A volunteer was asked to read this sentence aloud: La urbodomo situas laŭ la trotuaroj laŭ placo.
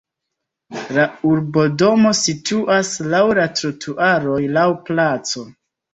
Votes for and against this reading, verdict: 2, 1, accepted